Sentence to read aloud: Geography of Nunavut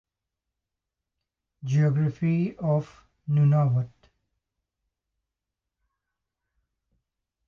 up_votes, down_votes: 1, 2